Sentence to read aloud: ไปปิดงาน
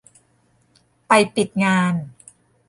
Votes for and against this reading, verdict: 2, 0, accepted